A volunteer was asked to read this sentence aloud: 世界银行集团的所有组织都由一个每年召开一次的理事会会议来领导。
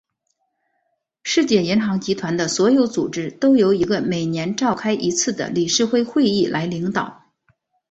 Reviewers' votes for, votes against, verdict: 3, 0, accepted